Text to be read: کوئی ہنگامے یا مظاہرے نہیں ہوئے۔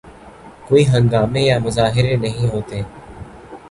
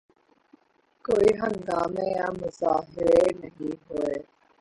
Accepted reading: first